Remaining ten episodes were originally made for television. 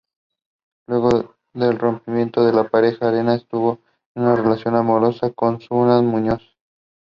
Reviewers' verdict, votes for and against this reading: rejected, 0, 2